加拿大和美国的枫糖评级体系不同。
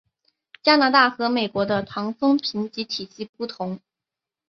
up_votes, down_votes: 3, 2